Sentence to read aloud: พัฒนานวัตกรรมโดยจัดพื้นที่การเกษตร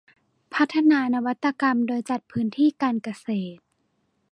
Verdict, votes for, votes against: accepted, 2, 0